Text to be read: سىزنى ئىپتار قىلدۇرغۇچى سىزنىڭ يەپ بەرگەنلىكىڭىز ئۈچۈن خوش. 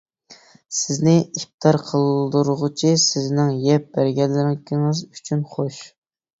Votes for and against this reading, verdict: 2, 1, accepted